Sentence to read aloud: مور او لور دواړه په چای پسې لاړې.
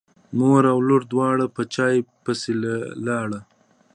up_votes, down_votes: 2, 0